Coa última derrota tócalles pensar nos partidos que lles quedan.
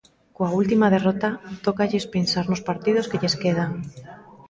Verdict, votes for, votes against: accepted, 2, 0